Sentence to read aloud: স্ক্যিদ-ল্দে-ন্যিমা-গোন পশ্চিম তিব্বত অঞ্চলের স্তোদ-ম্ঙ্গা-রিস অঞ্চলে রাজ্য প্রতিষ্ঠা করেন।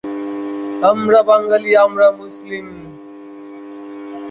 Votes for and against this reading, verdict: 0, 2, rejected